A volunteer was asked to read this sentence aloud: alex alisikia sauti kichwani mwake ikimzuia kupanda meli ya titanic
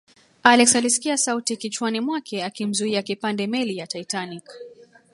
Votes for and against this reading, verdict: 1, 2, rejected